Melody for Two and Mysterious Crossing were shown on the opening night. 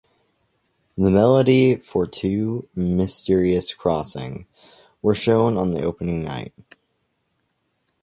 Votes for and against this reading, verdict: 2, 1, accepted